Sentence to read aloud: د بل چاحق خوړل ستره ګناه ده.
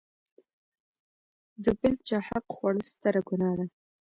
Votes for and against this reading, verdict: 2, 0, accepted